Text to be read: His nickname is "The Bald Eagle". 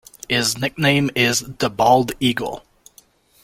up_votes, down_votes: 3, 0